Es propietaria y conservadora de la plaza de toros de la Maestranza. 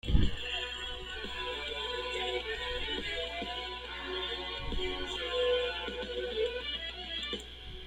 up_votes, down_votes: 0, 2